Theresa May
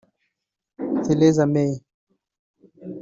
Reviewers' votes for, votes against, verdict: 2, 0, accepted